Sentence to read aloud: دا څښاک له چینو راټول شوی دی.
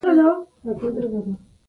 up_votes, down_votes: 2, 0